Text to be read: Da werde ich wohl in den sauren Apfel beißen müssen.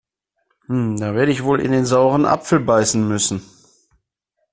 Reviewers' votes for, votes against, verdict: 2, 1, accepted